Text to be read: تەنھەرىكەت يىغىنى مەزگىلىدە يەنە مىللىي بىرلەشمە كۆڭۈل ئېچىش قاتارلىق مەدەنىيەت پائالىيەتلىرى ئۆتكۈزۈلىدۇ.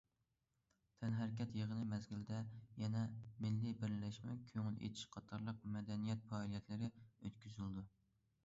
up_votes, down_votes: 2, 1